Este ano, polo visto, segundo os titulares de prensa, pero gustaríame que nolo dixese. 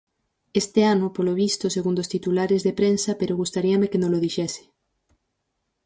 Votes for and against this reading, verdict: 4, 0, accepted